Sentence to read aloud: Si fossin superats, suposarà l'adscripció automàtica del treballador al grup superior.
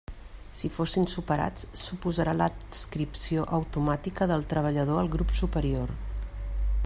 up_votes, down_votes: 0, 2